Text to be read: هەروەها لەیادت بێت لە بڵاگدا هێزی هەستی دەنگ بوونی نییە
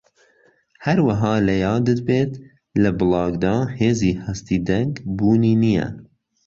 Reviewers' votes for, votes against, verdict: 2, 0, accepted